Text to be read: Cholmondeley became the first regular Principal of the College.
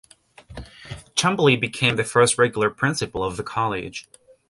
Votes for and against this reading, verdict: 0, 2, rejected